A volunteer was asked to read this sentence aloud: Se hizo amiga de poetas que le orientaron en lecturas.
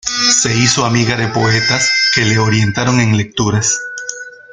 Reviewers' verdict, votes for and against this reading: rejected, 1, 2